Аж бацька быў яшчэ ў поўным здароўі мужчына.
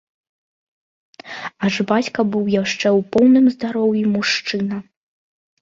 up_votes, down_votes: 2, 0